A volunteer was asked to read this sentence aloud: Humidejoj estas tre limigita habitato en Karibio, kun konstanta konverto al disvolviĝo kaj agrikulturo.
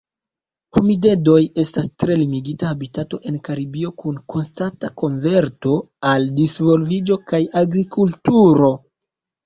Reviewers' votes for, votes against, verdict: 0, 2, rejected